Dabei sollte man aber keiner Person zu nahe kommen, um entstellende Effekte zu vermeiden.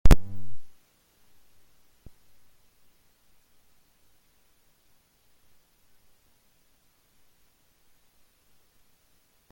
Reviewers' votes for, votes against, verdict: 0, 2, rejected